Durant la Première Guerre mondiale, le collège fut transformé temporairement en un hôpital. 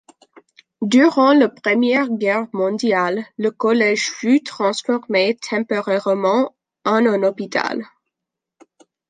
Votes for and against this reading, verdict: 1, 2, rejected